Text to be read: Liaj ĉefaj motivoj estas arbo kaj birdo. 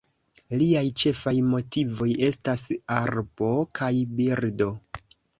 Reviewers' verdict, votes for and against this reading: accepted, 3, 0